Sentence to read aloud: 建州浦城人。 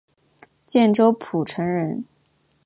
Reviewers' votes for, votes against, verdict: 5, 0, accepted